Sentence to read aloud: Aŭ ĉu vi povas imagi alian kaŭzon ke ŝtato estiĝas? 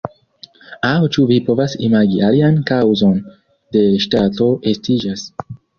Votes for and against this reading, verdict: 0, 2, rejected